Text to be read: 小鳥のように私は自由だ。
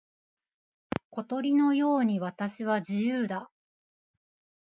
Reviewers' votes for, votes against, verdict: 0, 2, rejected